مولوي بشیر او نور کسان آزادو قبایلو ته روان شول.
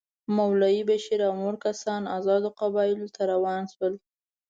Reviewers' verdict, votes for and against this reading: accepted, 2, 0